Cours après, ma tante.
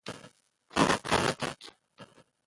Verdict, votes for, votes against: rejected, 1, 2